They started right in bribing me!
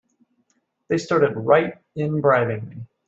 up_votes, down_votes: 2, 1